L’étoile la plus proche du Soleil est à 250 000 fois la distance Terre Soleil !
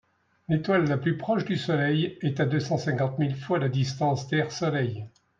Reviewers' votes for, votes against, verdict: 0, 2, rejected